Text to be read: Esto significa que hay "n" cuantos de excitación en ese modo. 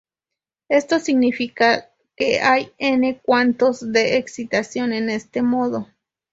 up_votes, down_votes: 0, 2